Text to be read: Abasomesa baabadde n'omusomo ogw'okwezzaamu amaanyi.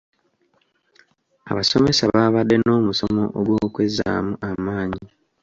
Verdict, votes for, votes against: accepted, 2, 0